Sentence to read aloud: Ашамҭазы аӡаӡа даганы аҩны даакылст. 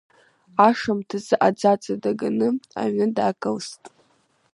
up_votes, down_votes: 0, 2